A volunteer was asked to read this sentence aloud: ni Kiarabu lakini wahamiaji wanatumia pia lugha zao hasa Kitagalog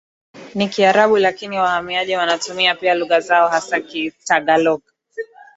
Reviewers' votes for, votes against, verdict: 2, 0, accepted